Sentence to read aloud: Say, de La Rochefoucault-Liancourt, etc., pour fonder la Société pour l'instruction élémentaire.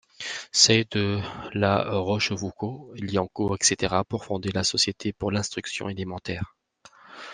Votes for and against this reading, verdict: 2, 0, accepted